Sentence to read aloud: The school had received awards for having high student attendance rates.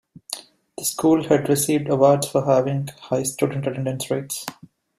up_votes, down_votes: 2, 0